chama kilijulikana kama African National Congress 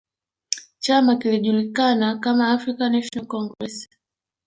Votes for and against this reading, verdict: 1, 2, rejected